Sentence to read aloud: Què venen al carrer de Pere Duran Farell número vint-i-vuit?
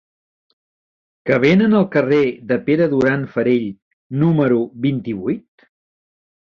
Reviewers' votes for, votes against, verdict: 1, 2, rejected